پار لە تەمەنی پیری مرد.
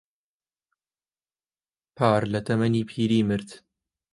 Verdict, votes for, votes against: accepted, 3, 0